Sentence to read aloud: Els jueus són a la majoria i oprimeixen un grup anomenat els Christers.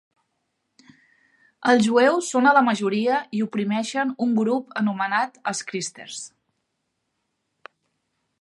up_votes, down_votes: 3, 0